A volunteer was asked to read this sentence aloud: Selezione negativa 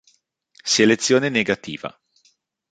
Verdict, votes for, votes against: accepted, 2, 0